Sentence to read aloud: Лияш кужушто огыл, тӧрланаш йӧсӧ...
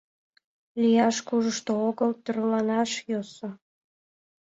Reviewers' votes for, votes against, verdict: 2, 0, accepted